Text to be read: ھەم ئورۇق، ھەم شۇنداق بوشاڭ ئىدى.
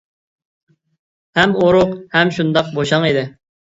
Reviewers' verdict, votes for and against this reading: accepted, 2, 0